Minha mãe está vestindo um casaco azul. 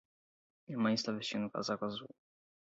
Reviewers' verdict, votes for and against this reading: rejected, 4, 4